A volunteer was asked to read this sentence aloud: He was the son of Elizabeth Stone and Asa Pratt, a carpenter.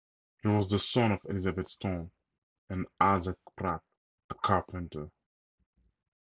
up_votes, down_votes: 4, 2